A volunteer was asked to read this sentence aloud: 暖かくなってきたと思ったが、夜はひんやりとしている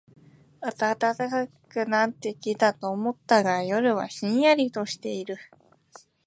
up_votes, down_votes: 2, 0